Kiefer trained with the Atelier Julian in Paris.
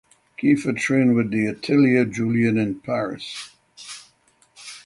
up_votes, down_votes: 6, 0